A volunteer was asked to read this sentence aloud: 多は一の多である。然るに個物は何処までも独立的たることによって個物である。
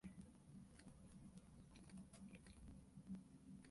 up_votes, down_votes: 0, 2